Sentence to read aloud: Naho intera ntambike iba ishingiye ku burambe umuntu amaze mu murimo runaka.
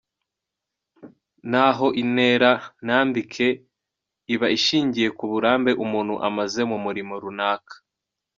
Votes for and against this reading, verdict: 1, 2, rejected